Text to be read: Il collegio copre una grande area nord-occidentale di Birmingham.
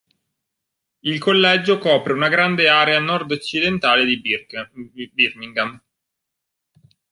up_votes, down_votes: 0, 4